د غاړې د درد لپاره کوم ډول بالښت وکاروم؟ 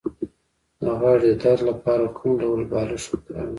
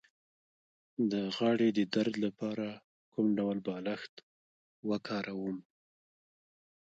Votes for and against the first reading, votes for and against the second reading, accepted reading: 2, 0, 0, 2, first